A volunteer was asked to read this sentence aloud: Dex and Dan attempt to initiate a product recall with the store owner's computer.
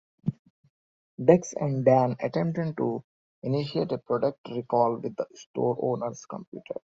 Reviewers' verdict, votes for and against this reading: rejected, 1, 2